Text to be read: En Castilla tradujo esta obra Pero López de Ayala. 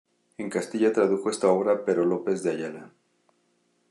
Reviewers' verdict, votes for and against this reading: accepted, 2, 0